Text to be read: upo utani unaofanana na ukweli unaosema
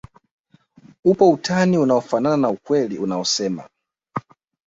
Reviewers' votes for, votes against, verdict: 2, 0, accepted